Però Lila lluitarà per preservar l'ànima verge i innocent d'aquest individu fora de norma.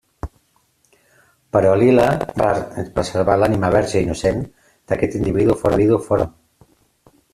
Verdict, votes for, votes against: rejected, 0, 2